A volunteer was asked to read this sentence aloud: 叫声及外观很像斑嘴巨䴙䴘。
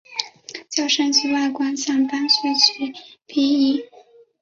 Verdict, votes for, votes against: rejected, 1, 2